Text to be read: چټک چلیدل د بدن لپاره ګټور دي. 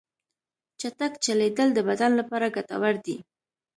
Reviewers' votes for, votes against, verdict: 3, 0, accepted